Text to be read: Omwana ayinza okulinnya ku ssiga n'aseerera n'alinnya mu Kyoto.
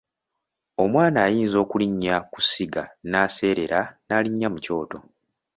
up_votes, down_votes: 2, 0